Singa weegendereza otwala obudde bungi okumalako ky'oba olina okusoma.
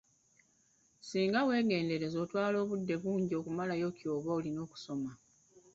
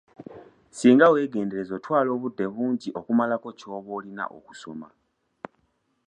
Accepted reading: second